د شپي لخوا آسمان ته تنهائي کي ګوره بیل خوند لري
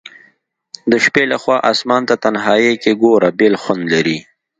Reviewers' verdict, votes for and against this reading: accepted, 2, 0